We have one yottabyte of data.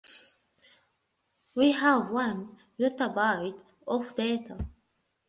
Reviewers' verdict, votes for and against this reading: rejected, 1, 2